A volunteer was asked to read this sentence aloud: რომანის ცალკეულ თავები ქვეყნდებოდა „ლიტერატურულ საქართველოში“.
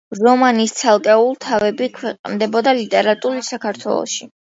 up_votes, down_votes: 2, 1